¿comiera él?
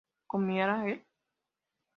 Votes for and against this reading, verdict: 0, 2, rejected